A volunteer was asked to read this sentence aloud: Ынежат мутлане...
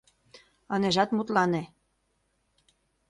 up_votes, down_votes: 2, 0